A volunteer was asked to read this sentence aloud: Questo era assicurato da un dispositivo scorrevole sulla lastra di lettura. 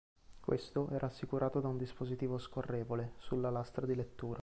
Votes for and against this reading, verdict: 2, 0, accepted